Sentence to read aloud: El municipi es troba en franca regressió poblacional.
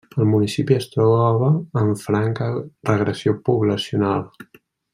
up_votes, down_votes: 1, 2